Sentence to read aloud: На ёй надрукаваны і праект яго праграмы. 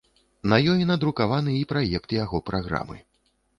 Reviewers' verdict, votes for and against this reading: accepted, 2, 0